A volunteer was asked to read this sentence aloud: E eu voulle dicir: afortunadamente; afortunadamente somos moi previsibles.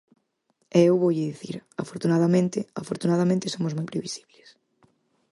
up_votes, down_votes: 4, 0